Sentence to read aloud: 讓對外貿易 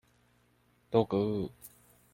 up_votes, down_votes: 0, 2